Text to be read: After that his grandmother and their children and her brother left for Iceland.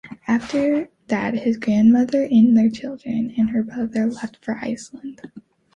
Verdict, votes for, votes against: accepted, 2, 0